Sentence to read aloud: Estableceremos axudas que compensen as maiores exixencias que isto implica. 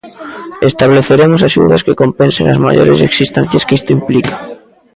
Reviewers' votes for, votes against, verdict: 0, 2, rejected